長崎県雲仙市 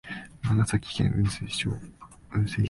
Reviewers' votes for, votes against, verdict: 1, 2, rejected